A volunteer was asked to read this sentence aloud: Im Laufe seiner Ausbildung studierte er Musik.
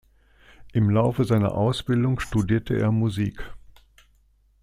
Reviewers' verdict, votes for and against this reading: accepted, 2, 0